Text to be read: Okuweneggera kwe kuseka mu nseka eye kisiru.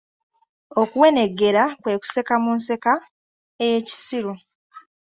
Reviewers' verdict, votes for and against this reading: accepted, 2, 0